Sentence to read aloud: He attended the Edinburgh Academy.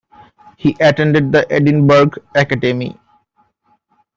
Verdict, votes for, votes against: rejected, 0, 2